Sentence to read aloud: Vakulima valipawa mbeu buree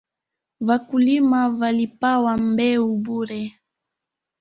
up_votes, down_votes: 1, 2